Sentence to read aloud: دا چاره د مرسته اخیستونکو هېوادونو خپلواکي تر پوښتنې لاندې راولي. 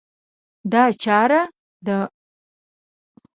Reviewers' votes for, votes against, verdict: 0, 2, rejected